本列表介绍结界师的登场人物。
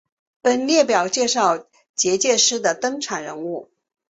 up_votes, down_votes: 6, 0